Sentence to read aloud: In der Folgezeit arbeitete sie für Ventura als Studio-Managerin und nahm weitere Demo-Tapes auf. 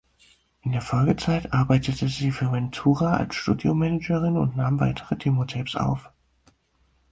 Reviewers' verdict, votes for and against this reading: accepted, 4, 0